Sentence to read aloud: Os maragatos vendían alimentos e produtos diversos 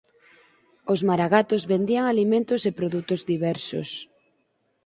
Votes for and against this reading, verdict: 4, 0, accepted